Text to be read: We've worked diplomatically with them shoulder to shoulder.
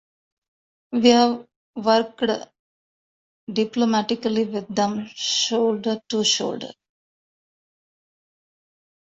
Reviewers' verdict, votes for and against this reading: rejected, 1, 2